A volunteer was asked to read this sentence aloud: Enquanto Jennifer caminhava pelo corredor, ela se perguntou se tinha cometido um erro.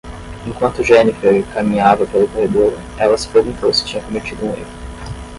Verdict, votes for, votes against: rejected, 0, 5